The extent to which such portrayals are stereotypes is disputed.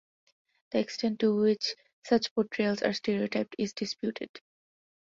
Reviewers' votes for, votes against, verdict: 0, 2, rejected